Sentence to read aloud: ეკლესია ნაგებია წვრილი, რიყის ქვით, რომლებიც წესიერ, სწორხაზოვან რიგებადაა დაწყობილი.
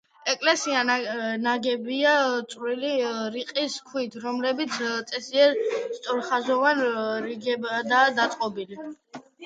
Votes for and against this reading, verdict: 1, 2, rejected